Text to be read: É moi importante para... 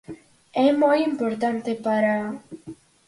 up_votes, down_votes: 4, 0